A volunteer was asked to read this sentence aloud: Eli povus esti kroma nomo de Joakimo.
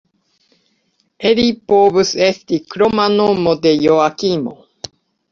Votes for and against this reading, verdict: 2, 0, accepted